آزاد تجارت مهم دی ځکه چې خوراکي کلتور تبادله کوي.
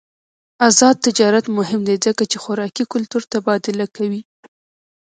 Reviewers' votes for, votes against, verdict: 2, 0, accepted